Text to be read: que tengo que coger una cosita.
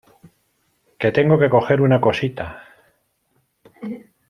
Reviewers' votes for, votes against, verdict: 2, 0, accepted